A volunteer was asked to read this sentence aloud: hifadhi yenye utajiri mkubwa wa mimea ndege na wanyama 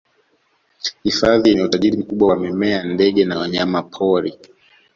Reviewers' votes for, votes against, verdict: 0, 2, rejected